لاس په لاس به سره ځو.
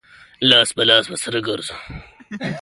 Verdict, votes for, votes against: accepted, 2, 0